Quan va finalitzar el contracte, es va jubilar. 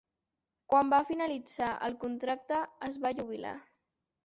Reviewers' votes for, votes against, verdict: 2, 3, rejected